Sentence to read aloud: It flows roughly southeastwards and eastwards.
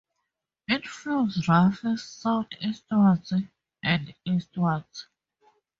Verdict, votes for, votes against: rejected, 0, 2